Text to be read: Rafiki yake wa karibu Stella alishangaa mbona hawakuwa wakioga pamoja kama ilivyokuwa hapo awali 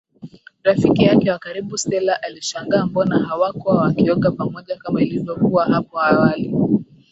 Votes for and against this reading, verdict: 4, 0, accepted